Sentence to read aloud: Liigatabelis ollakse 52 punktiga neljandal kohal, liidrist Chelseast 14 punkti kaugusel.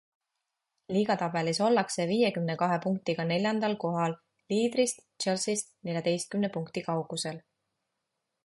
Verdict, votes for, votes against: rejected, 0, 2